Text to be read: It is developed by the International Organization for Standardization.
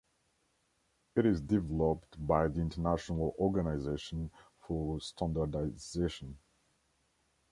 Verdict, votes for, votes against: rejected, 1, 2